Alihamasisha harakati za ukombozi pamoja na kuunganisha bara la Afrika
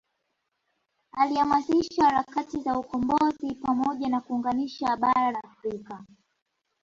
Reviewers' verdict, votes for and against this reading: accepted, 4, 1